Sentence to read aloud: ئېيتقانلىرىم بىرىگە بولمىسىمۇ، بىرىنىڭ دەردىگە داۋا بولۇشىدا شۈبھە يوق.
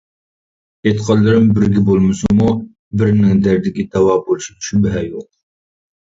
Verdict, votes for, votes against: rejected, 0, 2